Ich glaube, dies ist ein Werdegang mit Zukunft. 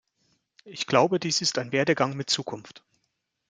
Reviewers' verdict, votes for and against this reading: accepted, 2, 0